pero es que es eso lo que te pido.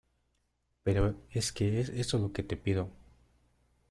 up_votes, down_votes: 0, 2